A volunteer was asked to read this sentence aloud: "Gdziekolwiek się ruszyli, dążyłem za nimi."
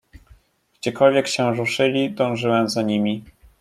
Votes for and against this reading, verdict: 2, 0, accepted